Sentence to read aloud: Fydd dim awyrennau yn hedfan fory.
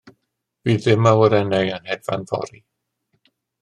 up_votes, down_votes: 2, 0